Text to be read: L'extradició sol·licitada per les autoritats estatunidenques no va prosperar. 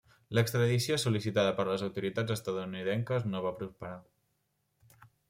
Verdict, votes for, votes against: rejected, 1, 2